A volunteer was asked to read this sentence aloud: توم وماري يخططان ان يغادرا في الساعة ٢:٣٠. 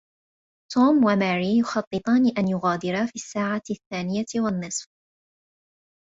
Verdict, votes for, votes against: rejected, 0, 2